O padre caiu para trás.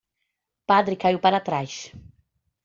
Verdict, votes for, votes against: accepted, 2, 1